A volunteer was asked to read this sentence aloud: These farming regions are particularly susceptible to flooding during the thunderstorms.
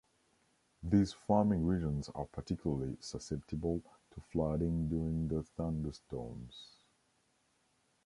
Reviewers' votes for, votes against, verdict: 2, 0, accepted